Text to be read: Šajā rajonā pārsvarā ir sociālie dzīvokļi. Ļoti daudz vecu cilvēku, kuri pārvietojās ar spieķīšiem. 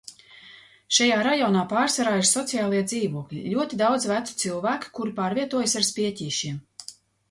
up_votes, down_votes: 0, 2